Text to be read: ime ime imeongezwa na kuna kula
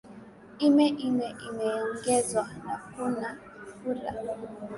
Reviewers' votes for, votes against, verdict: 2, 0, accepted